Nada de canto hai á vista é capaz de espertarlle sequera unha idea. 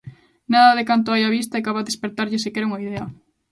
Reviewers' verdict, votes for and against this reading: accepted, 2, 0